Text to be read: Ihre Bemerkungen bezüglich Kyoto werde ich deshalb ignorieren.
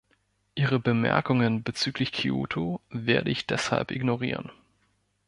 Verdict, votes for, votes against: accepted, 2, 0